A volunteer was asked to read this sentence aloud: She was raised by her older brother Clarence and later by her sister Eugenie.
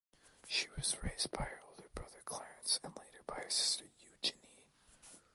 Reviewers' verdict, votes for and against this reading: accepted, 2, 1